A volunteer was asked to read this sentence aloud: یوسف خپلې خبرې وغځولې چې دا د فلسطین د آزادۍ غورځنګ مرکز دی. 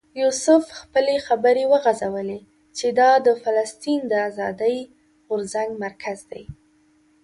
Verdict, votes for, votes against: accepted, 2, 0